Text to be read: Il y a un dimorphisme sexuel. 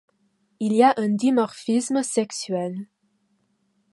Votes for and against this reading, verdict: 2, 0, accepted